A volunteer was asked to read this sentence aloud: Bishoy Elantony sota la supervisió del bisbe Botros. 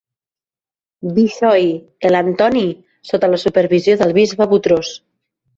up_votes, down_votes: 1, 2